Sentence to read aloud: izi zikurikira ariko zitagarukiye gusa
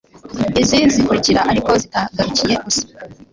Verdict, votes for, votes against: rejected, 1, 2